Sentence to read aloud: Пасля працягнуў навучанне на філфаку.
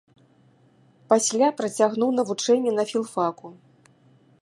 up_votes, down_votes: 1, 2